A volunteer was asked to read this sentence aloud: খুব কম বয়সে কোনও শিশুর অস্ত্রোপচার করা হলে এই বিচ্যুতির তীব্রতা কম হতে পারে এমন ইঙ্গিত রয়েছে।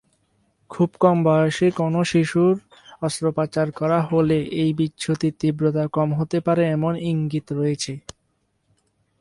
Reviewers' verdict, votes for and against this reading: accepted, 2, 0